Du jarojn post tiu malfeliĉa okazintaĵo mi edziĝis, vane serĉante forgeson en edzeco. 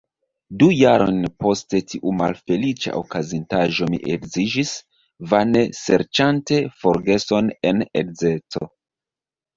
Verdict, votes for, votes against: rejected, 1, 2